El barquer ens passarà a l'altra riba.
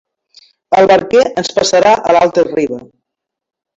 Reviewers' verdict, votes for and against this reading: accepted, 2, 1